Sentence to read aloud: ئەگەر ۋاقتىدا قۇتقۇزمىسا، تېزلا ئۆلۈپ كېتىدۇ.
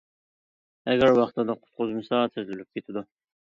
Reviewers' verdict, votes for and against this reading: rejected, 0, 2